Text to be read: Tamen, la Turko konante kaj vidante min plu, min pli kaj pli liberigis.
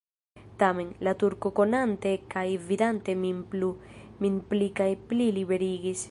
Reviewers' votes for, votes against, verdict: 2, 0, accepted